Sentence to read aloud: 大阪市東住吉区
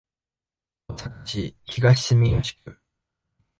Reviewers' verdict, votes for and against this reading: rejected, 0, 2